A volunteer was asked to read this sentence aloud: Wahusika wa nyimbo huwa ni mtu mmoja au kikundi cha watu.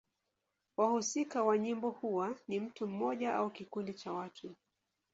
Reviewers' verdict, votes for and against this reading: accepted, 2, 0